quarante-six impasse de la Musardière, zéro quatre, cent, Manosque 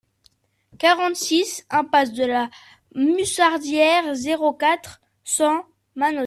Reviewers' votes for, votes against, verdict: 0, 2, rejected